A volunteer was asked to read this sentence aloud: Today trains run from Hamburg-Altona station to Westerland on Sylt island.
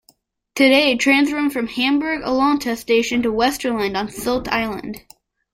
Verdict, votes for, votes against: accepted, 2, 0